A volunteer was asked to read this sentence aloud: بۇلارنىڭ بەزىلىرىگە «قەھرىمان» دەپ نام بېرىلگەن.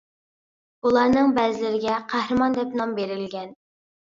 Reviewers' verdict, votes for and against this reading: accepted, 2, 0